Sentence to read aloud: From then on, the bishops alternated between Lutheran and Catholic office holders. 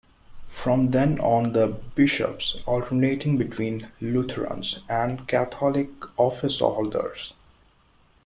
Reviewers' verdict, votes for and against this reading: rejected, 0, 2